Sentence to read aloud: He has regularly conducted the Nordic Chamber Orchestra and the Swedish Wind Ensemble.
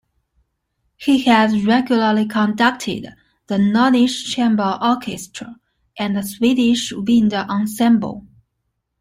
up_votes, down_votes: 2, 1